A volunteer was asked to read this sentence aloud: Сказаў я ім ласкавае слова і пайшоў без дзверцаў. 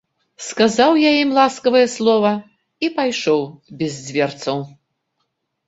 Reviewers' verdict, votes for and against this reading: rejected, 1, 3